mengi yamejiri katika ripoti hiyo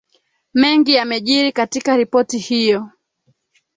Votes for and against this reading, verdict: 1, 2, rejected